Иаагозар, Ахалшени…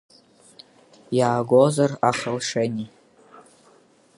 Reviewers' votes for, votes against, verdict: 7, 1, accepted